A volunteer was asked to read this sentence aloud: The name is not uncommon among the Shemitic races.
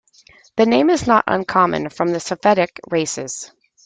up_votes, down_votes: 0, 2